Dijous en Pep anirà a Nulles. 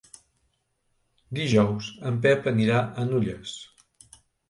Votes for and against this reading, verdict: 2, 0, accepted